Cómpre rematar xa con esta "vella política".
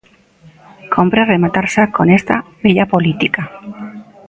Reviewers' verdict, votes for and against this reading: rejected, 1, 2